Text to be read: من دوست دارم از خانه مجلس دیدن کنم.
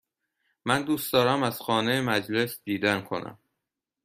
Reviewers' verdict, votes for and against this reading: accepted, 2, 0